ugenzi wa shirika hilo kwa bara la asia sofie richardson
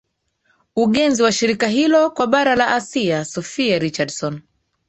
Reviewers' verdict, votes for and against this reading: rejected, 2, 3